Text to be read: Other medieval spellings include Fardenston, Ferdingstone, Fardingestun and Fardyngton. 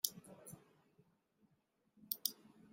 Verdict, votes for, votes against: rejected, 0, 2